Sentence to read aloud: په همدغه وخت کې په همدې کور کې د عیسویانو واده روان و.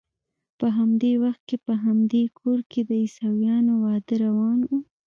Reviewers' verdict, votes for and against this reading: rejected, 1, 2